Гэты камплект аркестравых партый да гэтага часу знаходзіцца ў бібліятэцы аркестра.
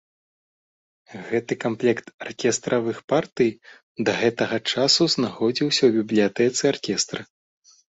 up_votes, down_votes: 2, 3